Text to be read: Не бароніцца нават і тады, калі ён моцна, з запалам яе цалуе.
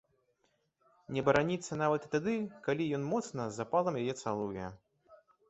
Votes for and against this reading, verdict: 0, 2, rejected